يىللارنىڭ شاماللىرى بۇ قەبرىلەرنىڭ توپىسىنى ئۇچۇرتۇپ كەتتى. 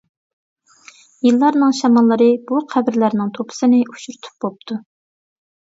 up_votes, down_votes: 0, 2